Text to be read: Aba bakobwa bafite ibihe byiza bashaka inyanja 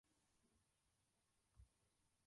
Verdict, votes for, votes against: rejected, 0, 2